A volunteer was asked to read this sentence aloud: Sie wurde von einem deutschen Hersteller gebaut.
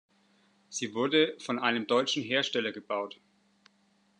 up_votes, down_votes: 2, 0